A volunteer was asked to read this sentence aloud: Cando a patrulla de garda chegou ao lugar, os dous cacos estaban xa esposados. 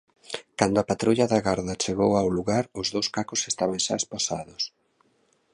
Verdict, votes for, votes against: rejected, 1, 2